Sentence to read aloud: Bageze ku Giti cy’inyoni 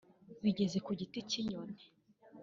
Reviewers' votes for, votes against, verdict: 1, 2, rejected